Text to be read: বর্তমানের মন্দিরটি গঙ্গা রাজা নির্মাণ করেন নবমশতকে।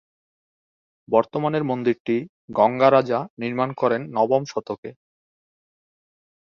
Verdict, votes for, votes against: accepted, 2, 0